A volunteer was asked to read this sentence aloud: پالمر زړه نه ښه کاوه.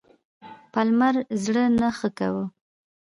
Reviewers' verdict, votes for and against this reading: accepted, 2, 0